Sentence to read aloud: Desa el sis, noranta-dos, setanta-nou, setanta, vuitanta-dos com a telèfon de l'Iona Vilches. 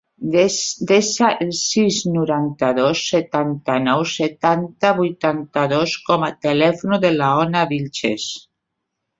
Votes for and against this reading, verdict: 0, 2, rejected